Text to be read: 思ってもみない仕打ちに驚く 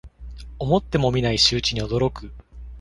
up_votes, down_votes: 2, 0